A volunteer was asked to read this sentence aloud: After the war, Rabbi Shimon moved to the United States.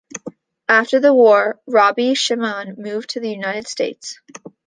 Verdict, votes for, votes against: accepted, 2, 1